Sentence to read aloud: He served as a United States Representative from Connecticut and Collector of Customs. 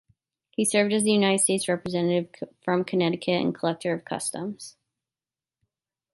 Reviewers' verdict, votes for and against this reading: rejected, 0, 2